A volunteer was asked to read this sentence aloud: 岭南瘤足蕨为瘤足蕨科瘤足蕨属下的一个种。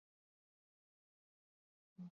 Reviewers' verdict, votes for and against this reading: accepted, 4, 3